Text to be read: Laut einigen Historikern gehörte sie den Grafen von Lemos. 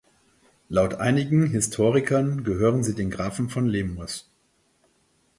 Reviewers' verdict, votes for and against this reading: rejected, 0, 4